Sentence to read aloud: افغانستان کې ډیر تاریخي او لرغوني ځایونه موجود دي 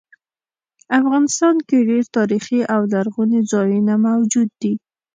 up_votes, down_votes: 2, 0